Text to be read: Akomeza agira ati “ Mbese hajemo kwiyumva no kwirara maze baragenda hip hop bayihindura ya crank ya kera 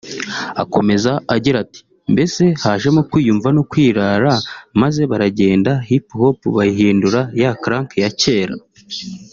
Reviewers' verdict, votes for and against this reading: rejected, 0, 2